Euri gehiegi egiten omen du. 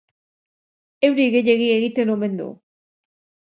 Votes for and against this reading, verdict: 2, 0, accepted